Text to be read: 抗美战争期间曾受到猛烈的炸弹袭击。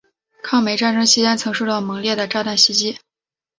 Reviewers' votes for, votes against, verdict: 2, 1, accepted